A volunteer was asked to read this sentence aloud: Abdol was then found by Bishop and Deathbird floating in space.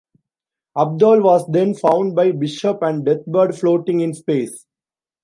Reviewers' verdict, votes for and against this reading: accepted, 2, 0